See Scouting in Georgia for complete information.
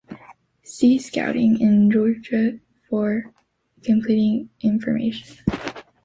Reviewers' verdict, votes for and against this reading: rejected, 0, 2